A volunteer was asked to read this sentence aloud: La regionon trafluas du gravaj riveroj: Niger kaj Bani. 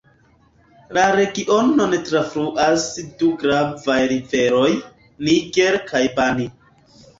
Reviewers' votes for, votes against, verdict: 1, 4, rejected